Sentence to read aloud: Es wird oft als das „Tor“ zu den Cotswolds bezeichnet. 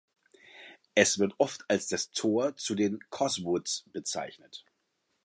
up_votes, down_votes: 0, 2